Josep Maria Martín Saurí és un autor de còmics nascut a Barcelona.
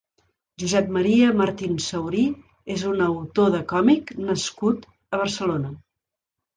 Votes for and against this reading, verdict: 0, 2, rejected